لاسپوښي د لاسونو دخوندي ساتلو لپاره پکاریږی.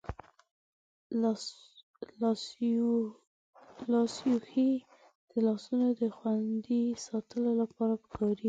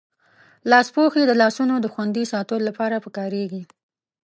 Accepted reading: second